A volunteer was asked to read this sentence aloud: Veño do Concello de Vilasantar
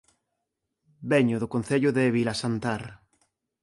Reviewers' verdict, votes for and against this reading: rejected, 1, 2